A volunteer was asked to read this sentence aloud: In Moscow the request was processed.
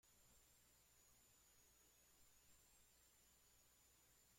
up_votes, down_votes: 0, 2